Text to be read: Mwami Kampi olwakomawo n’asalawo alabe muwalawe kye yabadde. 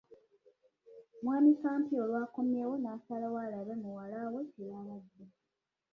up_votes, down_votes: 1, 2